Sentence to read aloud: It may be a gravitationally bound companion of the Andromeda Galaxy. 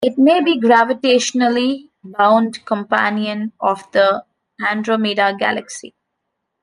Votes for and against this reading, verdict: 0, 2, rejected